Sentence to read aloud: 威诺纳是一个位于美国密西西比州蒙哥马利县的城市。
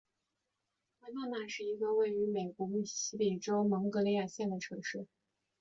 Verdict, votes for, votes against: rejected, 0, 2